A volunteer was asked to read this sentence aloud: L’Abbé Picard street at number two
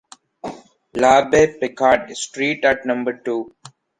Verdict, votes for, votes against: rejected, 0, 2